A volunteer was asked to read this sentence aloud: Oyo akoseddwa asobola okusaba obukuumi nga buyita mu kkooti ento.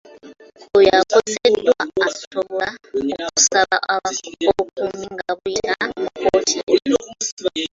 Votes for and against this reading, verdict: 0, 2, rejected